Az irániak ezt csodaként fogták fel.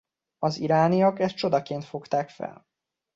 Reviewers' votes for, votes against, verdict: 2, 1, accepted